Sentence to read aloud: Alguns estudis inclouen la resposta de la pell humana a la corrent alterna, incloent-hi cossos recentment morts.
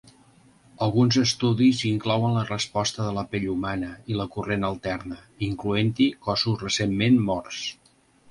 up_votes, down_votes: 2, 0